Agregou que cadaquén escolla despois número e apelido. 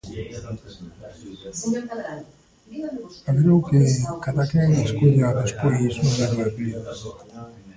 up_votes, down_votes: 1, 2